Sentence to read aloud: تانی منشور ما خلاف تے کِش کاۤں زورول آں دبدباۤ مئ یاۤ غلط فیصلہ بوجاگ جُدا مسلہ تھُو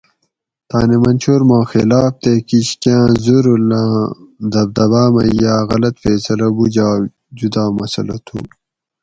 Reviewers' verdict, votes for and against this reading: accepted, 4, 0